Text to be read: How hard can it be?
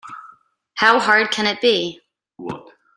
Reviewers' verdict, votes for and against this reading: rejected, 1, 2